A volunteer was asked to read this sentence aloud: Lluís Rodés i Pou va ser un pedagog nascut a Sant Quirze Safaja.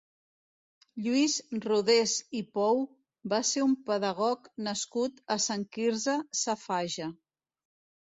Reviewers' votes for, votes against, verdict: 2, 1, accepted